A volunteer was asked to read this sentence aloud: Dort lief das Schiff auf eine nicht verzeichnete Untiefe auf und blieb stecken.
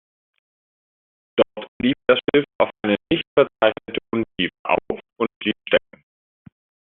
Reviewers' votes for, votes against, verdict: 0, 2, rejected